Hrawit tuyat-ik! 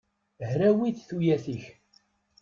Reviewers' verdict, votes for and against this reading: accepted, 2, 0